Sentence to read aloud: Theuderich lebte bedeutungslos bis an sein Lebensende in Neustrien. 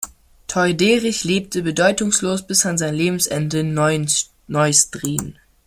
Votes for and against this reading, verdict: 0, 2, rejected